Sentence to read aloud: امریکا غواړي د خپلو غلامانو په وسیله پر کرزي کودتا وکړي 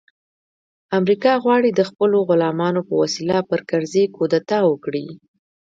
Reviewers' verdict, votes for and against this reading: rejected, 1, 2